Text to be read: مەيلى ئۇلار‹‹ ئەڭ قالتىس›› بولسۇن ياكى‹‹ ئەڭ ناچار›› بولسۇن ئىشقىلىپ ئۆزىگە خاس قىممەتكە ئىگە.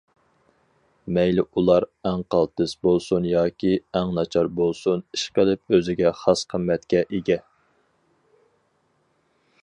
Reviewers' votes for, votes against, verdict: 4, 0, accepted